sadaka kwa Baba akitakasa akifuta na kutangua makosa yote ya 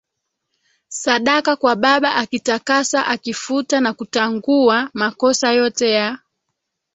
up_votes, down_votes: 1, 2